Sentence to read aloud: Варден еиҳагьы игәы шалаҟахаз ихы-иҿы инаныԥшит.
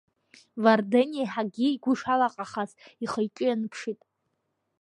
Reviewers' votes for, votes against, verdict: 0, 2, rejected